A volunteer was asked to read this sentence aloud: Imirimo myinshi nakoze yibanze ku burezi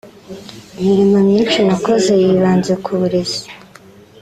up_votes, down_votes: 2, 0